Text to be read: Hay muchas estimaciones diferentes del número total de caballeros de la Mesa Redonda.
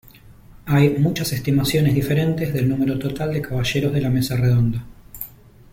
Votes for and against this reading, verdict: 1, 2, rejected